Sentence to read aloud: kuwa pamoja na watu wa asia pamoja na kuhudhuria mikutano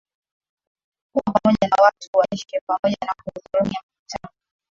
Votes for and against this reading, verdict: 1, 7, rejected